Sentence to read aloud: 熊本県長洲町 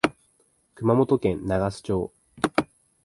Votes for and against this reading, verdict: 2, 0, accepted